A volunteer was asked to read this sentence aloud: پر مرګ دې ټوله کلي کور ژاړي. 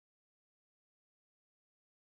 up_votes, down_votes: 1, 2